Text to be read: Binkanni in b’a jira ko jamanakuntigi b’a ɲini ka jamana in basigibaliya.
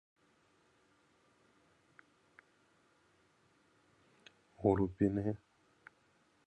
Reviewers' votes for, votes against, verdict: 0, 2, rejected